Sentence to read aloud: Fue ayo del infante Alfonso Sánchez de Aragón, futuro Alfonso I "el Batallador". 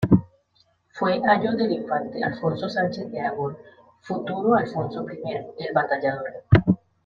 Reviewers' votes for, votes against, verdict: 1, 2, rejected